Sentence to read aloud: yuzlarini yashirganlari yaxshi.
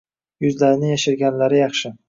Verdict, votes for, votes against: accepted, 2, 0